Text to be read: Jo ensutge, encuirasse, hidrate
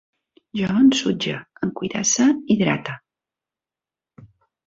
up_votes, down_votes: 1, 2